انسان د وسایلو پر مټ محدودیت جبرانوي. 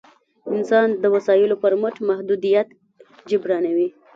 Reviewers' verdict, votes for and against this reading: rejected, 1, 2